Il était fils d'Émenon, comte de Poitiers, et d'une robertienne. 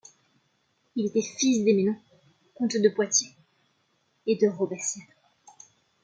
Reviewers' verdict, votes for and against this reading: rejected, 0, 2